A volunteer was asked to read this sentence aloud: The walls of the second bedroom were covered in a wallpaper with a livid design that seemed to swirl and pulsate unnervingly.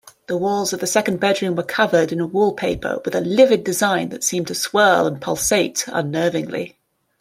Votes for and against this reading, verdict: 2, 0, accepted